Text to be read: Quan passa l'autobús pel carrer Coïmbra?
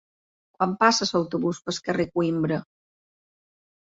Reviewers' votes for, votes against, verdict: 1, 2, rejected